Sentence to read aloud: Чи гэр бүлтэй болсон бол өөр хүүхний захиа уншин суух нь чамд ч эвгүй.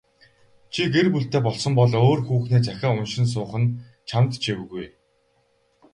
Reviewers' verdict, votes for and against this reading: rejected, 2, 2